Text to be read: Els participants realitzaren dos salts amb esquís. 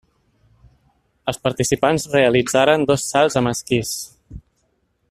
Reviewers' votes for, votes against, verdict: 3, 1, accepted